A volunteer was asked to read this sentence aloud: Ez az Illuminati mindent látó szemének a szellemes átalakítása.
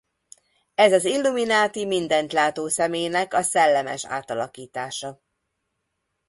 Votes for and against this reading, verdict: 2, 0, accepted